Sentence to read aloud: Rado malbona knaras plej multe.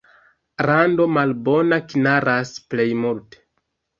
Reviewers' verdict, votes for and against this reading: rejected, 1, 2